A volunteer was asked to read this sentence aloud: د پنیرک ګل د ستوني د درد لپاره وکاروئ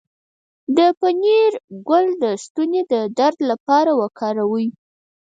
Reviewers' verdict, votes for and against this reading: rejected, 2, 4